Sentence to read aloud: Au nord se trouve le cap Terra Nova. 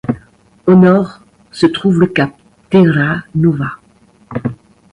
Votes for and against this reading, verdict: 2, 0, accepted